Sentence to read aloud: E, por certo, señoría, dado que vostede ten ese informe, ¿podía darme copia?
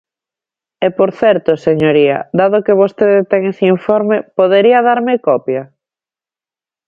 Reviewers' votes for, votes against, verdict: 0, 2, rejected